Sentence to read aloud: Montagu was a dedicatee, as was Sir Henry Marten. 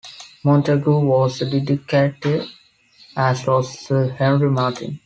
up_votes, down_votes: 2, 0